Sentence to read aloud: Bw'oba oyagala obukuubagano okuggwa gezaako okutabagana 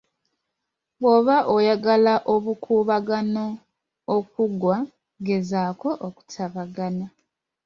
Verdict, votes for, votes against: accepted, 2, 0